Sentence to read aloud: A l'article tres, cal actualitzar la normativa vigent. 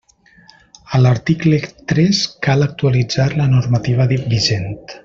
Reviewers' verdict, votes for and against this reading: rejected, 1, 2